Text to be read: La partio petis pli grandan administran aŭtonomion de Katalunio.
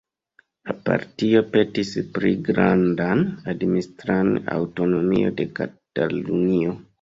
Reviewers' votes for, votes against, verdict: 1, 2, rejected